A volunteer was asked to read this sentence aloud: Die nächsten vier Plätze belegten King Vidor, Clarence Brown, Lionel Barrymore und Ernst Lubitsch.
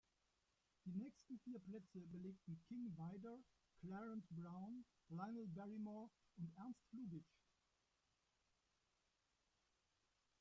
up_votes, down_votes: 1, 2